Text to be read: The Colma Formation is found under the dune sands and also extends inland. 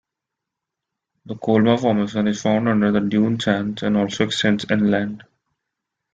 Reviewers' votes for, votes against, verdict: 1, 2, rejected